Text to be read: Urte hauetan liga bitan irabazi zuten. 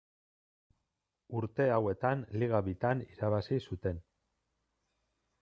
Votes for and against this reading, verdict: 2, 0, accepted